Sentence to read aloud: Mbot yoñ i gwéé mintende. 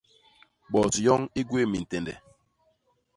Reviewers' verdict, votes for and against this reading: rejected, 0, 2